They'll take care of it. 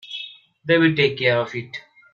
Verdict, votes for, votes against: rejected, 1, 2